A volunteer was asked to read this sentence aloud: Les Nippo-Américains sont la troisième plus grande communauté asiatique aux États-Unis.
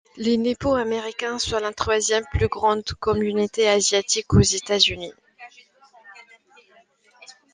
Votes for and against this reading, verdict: 2, 0, accepted